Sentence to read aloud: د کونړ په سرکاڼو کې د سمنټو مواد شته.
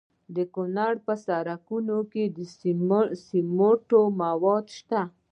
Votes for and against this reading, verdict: 2, 0, accepted